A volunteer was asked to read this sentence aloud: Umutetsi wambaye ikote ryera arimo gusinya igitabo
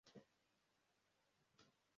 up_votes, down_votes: 0, 2